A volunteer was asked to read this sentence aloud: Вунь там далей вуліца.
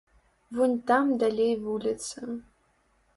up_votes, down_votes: 2, 0